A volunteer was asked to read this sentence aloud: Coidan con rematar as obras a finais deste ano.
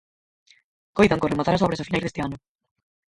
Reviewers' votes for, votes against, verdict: 0, 4, rejected